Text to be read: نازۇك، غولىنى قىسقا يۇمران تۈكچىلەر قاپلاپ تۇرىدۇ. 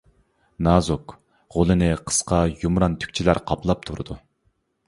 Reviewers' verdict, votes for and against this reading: accepted, 2, 0